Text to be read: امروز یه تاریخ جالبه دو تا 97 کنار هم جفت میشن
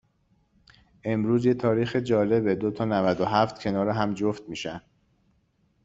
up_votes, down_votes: 0, 2